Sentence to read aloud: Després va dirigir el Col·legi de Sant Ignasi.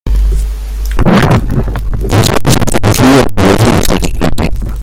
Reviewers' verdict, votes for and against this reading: rejected, 0, 2